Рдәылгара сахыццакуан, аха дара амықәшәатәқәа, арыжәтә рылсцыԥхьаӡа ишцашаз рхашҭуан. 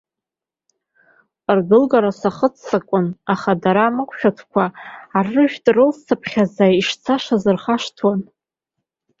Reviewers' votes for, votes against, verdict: 2, 0, accepted